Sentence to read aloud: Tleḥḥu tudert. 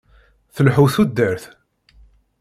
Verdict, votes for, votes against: rejected, 0, 2